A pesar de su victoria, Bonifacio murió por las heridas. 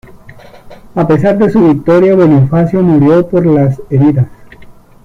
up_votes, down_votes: 2, 0